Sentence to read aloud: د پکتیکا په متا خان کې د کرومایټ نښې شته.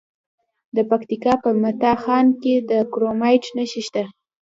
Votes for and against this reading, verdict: 2, 1, accepted